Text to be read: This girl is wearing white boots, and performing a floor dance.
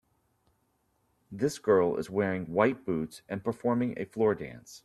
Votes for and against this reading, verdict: 2, 0, accepted